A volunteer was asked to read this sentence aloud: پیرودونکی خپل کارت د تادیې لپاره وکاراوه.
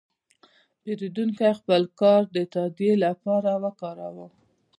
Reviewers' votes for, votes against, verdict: 1, 2, rejected